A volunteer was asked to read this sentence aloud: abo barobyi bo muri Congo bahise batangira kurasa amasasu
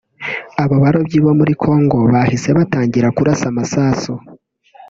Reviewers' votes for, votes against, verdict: 2, 0, accepted